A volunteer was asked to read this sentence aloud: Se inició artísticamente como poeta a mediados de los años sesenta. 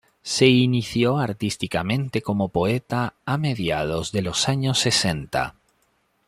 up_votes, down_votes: 2, 0